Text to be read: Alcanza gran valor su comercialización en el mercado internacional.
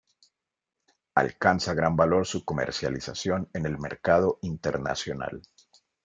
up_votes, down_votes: 2, 0